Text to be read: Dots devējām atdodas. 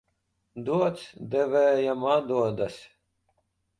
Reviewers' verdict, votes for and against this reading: rejected, 0, 2